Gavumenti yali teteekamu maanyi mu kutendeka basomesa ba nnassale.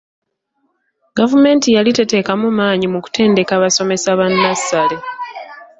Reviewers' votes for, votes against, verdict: 2, 0, accepted